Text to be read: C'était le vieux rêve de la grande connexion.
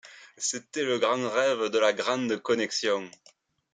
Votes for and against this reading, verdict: 0, 2, rejected